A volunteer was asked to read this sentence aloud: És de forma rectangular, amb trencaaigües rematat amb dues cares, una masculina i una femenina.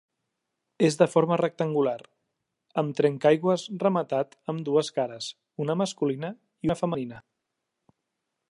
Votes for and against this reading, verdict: 2, 0, accepted